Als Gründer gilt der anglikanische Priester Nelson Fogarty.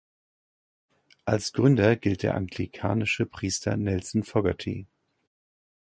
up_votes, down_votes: 2, 0